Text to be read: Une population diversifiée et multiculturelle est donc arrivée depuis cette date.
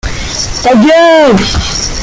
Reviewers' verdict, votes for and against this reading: rejected, 0, 2